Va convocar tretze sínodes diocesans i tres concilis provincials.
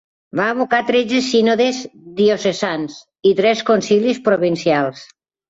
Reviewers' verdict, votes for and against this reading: rejected, 0, 2